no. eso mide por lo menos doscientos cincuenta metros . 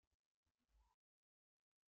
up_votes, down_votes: 0, 2